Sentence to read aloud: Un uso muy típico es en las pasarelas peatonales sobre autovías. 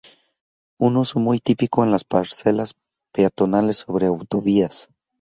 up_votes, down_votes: 0, 2